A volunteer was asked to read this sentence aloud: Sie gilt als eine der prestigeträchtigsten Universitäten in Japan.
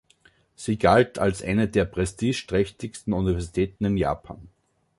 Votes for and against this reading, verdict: 1, 2, rejected